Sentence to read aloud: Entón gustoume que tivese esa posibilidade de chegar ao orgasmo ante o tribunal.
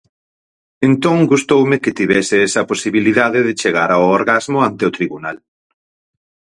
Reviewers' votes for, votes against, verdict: 0, 4, rejected